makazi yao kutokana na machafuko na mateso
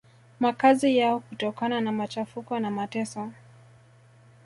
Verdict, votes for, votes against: accepted, 2, 1